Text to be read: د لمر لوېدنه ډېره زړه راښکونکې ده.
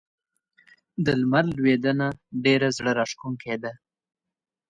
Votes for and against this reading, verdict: 2, 0, accepted